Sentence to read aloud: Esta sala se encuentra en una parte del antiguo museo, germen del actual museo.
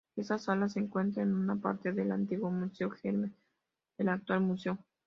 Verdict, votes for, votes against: accepted, 2, 1